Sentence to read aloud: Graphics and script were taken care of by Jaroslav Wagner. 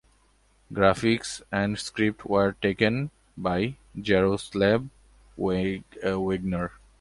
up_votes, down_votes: 0, 2